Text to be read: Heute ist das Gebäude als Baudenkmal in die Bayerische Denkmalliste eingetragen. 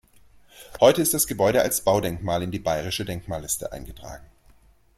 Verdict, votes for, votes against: accepted, 2, 0